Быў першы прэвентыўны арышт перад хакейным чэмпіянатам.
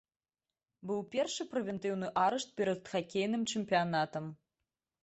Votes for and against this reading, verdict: 2, 0, accepted